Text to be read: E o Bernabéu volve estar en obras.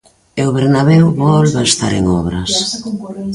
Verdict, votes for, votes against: rejected, 0, 2